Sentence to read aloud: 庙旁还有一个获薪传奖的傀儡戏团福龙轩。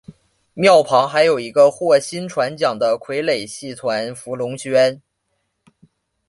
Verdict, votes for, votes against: accepted, 2, 1